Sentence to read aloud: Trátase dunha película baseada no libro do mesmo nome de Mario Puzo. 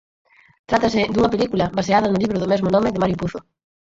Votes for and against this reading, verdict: 4, 2, accepted